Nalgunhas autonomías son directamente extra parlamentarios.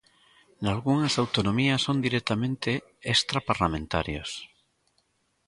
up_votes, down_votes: 3, 1